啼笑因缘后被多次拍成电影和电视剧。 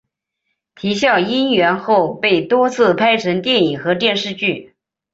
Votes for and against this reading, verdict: 2, 0, accepted